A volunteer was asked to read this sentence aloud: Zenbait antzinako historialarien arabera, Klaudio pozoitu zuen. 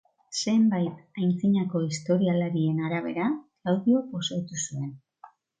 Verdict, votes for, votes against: accepted, 2, 1